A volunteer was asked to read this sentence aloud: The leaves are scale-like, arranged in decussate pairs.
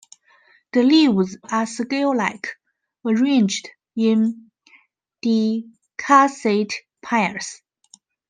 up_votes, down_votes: 1, 2